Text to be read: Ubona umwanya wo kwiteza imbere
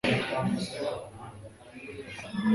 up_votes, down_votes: 0, 2